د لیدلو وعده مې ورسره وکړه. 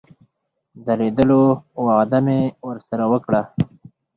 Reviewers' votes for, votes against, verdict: 4, 0, accepted